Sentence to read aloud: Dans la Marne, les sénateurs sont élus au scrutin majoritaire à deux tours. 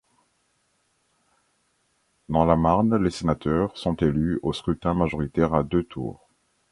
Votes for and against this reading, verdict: 3, 0, accepted